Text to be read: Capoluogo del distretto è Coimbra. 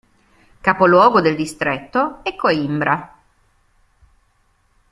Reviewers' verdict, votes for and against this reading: accepted, 2, 0